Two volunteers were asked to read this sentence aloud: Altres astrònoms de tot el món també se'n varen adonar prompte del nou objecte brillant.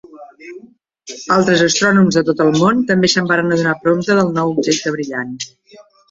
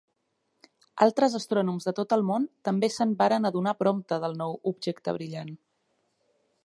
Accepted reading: second